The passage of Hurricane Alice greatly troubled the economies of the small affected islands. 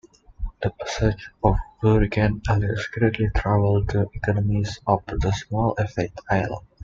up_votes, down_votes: 0, 2